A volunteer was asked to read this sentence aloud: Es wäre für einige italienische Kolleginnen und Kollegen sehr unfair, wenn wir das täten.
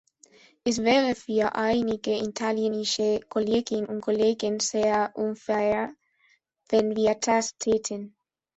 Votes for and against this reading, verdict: 1, 2, rejected